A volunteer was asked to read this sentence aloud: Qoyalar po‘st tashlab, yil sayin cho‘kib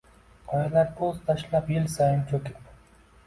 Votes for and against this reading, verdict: 2, 0, accepted